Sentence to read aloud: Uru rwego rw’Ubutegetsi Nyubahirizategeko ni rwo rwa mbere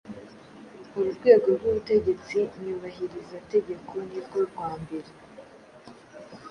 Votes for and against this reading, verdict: 3, 0, accepted